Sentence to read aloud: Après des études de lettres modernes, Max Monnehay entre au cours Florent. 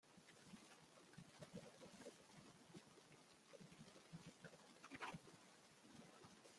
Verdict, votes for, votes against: rejected, 0, 2